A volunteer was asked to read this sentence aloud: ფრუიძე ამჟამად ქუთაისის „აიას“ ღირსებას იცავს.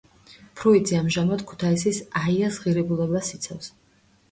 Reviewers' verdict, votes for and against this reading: rejected, 0, 2